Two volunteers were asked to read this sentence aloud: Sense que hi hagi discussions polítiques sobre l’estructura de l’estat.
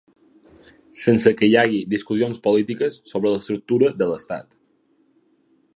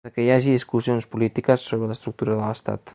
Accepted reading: first